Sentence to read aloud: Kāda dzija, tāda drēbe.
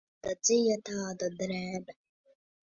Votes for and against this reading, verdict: 0, 2, rejected